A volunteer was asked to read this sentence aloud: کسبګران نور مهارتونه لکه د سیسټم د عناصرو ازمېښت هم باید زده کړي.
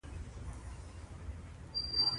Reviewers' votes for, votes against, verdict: 0, 2, rejected